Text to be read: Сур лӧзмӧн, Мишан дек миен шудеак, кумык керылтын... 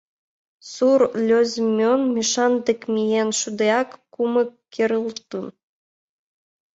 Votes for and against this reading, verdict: 1, 4, rejected